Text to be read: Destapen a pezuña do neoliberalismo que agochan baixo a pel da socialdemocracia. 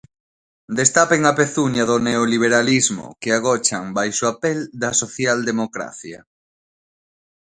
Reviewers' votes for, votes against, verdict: 2, 0, accepted